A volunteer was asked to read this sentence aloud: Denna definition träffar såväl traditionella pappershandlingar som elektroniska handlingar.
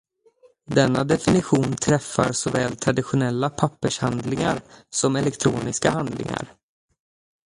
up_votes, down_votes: 0, 2